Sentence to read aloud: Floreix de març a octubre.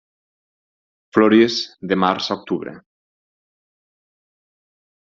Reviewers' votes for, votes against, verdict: 2, 4, rejected